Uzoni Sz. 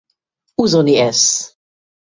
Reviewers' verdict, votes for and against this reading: rejected, 0, 2